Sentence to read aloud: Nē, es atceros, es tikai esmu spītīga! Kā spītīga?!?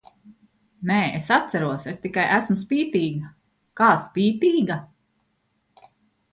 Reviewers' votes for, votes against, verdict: 2, 0, accepted